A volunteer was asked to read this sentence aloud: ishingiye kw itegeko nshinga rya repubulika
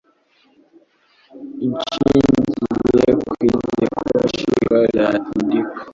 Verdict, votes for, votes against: rejected, 0, 2